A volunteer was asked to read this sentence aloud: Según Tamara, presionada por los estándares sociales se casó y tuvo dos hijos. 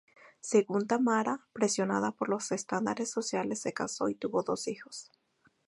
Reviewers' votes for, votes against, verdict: 4, 0, accepted